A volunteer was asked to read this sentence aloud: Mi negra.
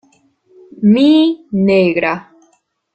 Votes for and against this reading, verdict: 2, 1, accepted